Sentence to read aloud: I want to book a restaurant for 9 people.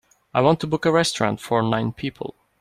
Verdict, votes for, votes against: rejected, 0, 2